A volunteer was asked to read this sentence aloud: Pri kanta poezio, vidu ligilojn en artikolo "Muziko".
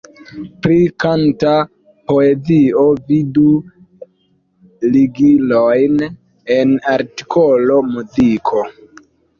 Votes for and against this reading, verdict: 2, 0, accepted